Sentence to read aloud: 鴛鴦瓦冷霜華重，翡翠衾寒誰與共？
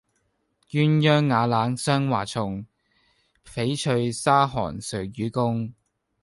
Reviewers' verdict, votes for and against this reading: rejected, 0, 2